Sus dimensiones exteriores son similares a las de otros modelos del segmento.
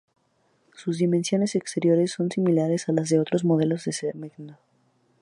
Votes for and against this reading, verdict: 0, 2, rejected